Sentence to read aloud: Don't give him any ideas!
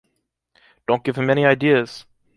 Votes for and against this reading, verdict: 2, 0, accepted